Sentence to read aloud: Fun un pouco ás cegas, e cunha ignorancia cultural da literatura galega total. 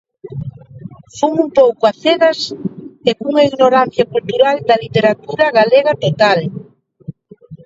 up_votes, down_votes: 1, 2